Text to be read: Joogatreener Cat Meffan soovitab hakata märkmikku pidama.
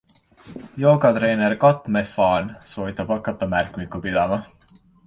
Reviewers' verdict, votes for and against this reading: accepted, 2, 0